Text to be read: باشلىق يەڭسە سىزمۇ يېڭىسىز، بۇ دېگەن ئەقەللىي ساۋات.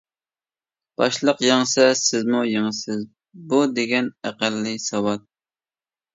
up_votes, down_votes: 2, 0